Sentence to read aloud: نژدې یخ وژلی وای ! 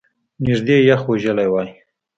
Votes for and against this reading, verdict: 2, 0, accepted